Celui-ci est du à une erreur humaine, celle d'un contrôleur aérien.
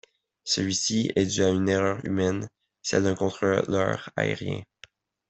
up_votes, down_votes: 1, 2